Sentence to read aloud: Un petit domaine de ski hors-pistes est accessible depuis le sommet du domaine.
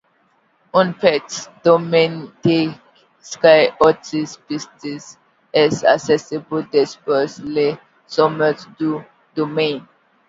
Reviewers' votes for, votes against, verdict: 1, 2, rejected